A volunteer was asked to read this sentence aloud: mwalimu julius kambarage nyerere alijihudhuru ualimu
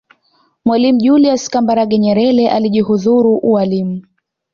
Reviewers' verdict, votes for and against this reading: accepted, 2, 0